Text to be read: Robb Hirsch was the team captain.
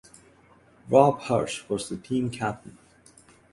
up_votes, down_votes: 6, 0